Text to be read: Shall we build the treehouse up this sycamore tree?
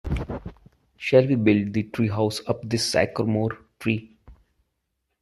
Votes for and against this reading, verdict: 0, 2, rejected